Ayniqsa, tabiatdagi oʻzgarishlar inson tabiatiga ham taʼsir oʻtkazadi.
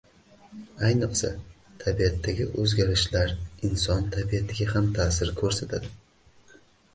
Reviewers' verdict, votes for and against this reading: rejected, 2, 2